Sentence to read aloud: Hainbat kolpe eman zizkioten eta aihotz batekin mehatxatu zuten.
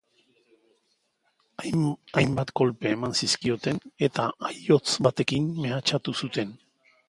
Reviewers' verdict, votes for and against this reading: rejected, 1, 2